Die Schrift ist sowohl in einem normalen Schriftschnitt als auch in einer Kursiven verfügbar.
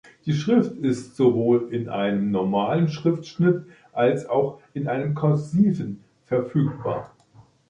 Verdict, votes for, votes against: rejected, 0, 2